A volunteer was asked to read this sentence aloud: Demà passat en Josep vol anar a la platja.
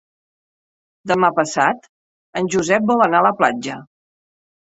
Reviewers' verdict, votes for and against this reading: accepted, 3, 0